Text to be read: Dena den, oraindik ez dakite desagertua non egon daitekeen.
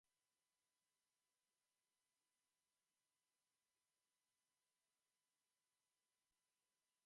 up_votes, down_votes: 0, 2